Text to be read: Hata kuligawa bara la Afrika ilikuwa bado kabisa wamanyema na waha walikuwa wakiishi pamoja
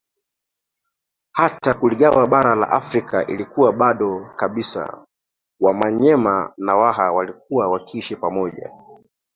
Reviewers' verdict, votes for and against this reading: accepted, 2, 1